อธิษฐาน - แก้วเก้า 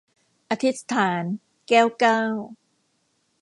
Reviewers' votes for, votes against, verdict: 0, 2, rejected